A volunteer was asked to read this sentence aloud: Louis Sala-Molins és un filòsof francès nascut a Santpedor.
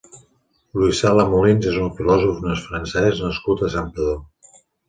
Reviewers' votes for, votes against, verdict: 0, 2, rejected